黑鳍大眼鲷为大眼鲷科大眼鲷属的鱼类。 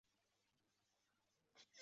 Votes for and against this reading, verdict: 0, 2, rejected